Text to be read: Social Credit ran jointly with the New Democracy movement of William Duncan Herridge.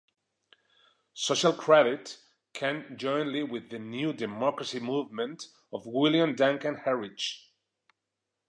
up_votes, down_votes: 1, 2